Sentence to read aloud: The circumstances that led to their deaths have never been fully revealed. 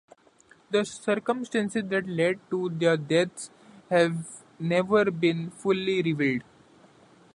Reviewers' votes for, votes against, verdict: 0, 2, rejected